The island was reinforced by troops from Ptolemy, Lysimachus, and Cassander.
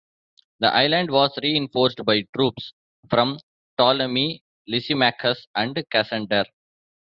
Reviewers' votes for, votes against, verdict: 1, 2, rejected